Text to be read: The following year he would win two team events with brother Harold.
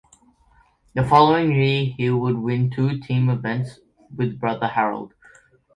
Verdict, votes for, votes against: rejected, 1, 2